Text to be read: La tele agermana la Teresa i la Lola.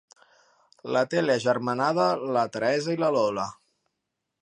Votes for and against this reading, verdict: 0, 2, rejected